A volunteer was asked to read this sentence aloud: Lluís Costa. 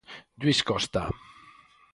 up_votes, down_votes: 4, 0